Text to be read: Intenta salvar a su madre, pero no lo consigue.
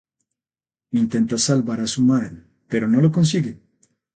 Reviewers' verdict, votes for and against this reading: rejected, 0, 2